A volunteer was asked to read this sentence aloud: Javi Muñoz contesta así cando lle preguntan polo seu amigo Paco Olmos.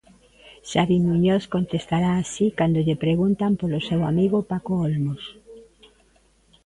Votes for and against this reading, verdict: 0, 2, rejected